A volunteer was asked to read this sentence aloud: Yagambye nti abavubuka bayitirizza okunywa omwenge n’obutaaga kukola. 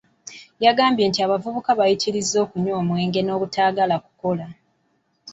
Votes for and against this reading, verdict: 0, 2, rejected